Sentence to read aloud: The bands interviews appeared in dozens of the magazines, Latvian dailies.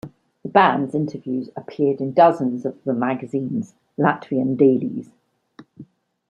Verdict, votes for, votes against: accepted, 2, 0